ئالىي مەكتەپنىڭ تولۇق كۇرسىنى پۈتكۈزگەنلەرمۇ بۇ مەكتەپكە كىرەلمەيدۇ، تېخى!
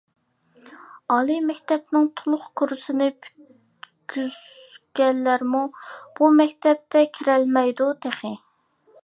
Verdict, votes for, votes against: rejected, 1, 2